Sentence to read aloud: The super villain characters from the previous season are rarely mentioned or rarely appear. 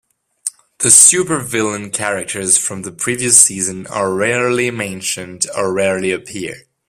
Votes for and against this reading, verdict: 2, 0, accepted